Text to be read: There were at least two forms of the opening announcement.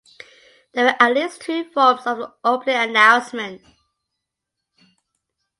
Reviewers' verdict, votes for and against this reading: accepted, 2, 0